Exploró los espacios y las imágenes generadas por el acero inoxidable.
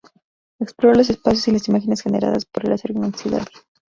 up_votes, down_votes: 0, 2